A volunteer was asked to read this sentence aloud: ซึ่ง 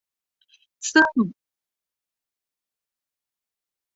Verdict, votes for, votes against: accepted, 2, 0